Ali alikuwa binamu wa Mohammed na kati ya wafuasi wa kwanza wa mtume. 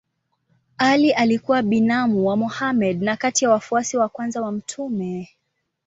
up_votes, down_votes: 2, 0